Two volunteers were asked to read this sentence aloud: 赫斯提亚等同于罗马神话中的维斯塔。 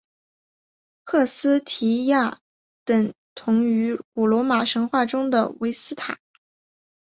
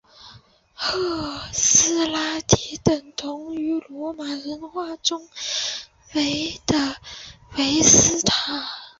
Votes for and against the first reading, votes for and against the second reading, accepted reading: 4, 0, 0, 2, first